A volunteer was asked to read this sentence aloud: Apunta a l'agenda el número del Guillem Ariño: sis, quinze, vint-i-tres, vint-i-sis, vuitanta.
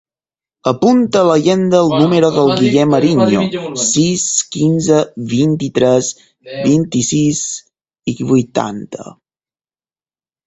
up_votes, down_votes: 0, 4